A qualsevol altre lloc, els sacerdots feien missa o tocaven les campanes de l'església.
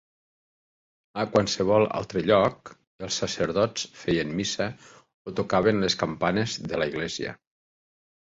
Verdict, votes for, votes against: rejected, 1, 2